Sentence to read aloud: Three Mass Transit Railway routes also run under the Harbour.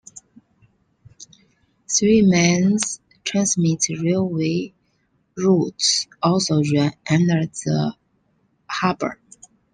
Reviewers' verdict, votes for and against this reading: rejected, 0, 2